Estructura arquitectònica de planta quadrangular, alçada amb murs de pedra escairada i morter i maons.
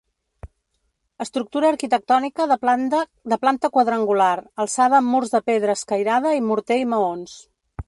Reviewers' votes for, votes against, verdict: 1, 2, rejected